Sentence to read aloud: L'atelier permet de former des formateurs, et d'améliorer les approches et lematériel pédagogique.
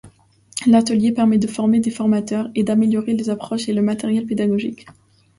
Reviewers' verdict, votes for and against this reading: accepted, 2, 0